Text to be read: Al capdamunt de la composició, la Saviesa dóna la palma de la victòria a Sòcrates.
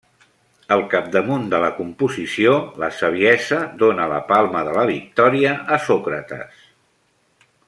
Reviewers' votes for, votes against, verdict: 0, 2, rejected